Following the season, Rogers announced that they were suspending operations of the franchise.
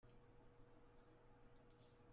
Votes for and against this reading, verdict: 0, 2, rejected